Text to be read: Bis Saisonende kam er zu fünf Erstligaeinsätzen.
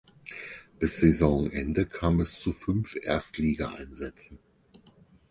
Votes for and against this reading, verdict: 0, 4, rejected